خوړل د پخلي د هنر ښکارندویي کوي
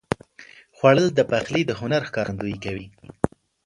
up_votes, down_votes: 2, 0